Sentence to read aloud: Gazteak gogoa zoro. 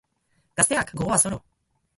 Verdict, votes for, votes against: rejected, 0, 2